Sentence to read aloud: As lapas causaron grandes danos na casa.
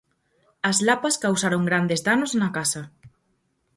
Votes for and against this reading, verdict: 4, 0, accepted